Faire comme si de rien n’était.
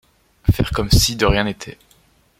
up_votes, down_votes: 2, 0